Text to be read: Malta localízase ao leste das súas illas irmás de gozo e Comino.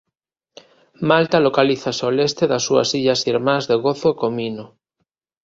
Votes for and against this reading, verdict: 0, 2, rejected